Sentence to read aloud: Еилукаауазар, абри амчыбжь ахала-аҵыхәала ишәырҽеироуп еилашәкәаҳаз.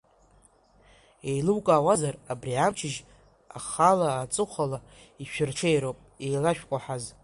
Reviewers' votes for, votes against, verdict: 1, 2, rejected